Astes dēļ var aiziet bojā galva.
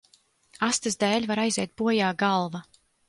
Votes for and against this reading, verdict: 2, 0, accepted